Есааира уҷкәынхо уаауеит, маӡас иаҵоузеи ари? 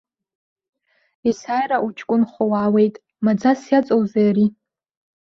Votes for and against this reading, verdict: 2, 0, accepted